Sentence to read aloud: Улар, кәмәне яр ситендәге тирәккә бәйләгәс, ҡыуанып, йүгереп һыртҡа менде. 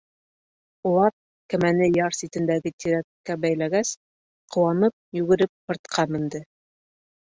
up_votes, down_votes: 1, 2